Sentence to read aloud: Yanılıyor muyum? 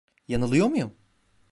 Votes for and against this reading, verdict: 1, 2, rejected